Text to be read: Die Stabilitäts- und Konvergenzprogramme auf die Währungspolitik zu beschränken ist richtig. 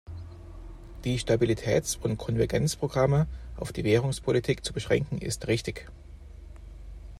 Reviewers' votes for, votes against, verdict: 2, 0, accepted